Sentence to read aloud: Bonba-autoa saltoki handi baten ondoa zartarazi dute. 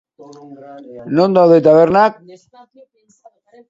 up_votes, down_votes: 0, 2